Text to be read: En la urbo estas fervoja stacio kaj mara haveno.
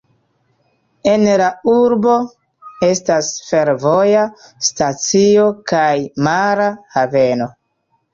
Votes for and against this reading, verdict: 2, 0, accepted